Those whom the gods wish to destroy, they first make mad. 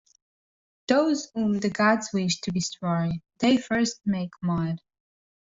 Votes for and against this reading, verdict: 1, 2, rejected